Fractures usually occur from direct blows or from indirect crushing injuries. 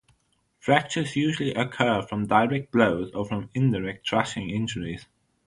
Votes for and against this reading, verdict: 0, 3, rejected